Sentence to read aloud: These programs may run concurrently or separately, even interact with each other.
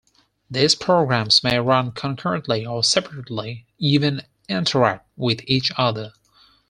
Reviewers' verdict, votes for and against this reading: accepted, 4, 0